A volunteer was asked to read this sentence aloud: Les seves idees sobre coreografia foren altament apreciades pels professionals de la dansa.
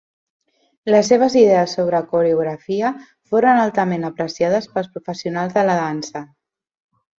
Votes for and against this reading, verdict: 2, 0, accepted